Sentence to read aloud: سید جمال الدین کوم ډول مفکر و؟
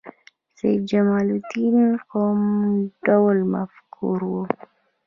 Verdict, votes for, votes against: rejected, 0, 2